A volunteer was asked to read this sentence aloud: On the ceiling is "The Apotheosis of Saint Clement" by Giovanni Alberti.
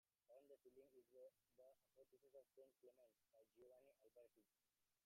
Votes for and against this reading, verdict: 0, 2, rejected